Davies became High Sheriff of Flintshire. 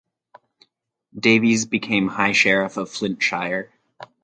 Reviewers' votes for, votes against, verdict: 4, 0, accepted